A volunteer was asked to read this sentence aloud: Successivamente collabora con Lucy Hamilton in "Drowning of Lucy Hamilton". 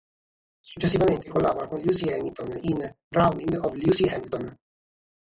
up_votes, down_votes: 3, 0